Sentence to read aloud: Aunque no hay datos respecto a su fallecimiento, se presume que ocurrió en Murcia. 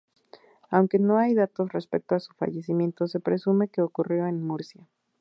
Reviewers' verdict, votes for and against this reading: accepted, 2, 0